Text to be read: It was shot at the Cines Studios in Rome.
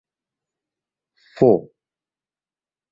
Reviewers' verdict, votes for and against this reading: rejected, 0, 2